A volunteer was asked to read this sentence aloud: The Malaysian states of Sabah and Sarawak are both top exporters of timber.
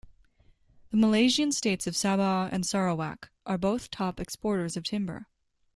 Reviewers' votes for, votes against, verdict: 2, 0, accepted